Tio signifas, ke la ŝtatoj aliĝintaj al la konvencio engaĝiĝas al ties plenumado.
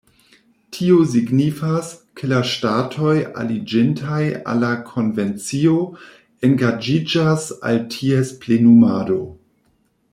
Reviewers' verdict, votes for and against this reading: rejected, 1, 2